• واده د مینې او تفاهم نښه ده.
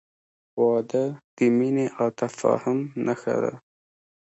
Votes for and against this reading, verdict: 2, 0, accepted